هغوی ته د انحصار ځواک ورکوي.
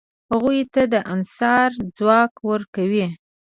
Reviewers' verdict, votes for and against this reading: accepted, 2, 0